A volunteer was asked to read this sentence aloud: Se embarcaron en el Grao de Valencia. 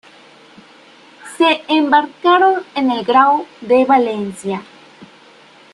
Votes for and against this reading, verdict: 2, 1, accepted